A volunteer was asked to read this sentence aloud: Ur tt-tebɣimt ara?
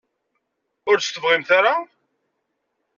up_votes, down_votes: 2, 0